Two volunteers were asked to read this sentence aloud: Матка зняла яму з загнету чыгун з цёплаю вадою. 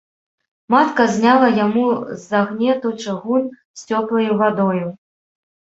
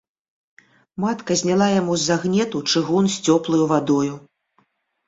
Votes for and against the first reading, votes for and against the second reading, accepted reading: 1, 2, 2, 0, second